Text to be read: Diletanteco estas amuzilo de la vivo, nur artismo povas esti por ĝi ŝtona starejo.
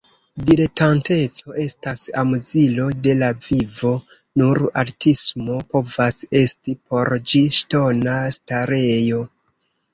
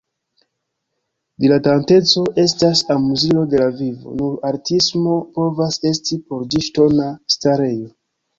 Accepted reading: second